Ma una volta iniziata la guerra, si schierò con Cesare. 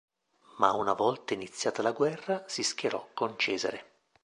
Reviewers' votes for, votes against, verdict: 2, 0, accepted